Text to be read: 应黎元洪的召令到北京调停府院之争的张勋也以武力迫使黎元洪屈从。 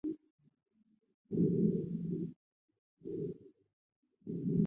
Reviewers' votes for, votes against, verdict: 1, 7, rejected